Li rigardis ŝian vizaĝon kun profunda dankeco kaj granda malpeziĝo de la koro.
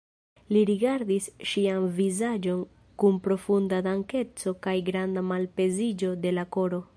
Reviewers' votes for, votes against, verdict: 0, 2, rejected